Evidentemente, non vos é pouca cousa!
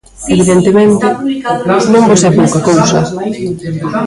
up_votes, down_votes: 0, 2